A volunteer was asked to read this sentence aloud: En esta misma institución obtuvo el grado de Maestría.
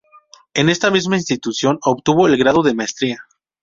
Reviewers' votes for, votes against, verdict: 0, 2, rejected